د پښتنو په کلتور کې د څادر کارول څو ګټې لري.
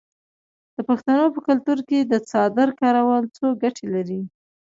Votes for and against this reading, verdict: 2, 0, accepted